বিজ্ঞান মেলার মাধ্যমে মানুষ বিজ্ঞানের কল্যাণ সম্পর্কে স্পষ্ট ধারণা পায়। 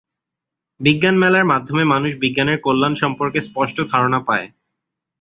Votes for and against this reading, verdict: 2, 0, accepted